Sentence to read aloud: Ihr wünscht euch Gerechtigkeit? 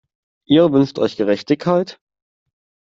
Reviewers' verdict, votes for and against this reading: rejected, 1, 2